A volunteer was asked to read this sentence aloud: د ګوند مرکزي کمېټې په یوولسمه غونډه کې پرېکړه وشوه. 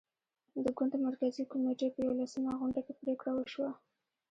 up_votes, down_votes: 0, 2